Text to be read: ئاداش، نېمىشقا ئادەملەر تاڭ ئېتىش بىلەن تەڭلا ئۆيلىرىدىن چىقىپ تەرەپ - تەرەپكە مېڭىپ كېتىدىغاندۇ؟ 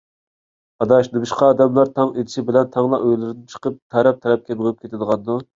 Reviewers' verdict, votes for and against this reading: accepted, 2, 0